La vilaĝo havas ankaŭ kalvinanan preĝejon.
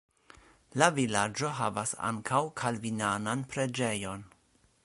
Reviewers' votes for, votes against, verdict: 2, 0, accepted